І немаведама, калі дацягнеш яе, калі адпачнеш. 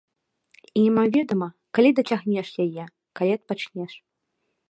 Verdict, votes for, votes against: rejected, 1, 2